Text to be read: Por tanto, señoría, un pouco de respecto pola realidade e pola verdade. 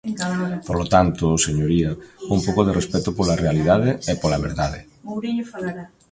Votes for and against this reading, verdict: 1, 2, rejected